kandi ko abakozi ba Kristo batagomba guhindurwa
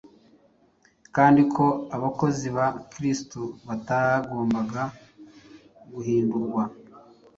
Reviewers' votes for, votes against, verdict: 0, 2, rejected